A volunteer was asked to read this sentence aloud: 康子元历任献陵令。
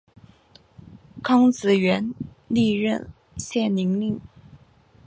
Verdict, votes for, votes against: accepted, 3, 0